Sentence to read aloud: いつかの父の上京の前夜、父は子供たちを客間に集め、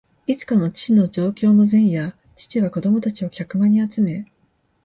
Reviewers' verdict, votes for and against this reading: accepted, 2, 0